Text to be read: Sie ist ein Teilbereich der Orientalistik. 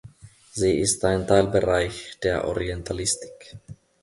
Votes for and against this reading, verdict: 2, 0, accepted